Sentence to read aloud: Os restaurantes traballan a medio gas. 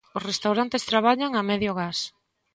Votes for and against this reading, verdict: 2, 0, accepted